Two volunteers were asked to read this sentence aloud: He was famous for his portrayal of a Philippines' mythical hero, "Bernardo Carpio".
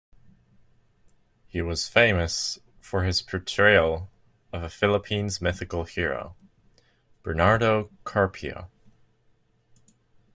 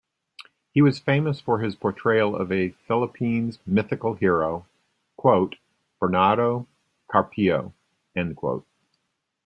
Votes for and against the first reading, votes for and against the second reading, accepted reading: 2, 0, 0, 2, first